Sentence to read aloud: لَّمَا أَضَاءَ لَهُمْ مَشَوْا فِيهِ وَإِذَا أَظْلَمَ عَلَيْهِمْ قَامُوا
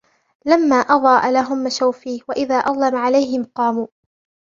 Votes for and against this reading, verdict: 2, 1, accepted